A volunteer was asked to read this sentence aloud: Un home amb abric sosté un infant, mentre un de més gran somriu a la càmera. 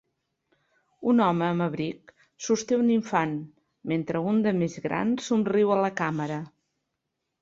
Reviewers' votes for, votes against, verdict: 3, 0, accepted